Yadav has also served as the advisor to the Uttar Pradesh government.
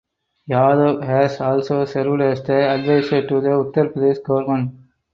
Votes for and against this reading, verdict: 4, 0, accepted